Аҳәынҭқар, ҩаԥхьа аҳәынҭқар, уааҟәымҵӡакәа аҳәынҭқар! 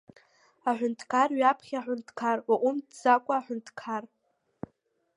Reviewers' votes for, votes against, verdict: 2, 1, accepted